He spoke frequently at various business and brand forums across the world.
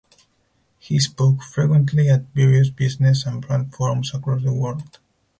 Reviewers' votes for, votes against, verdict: 0, 4, rejected